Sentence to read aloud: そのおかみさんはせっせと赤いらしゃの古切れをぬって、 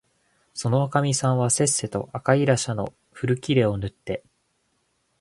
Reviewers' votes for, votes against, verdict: 2, 0, accepted